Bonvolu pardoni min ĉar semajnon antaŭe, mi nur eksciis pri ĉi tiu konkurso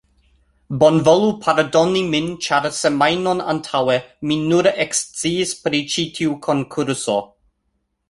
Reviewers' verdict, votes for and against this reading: accepted, 2, 0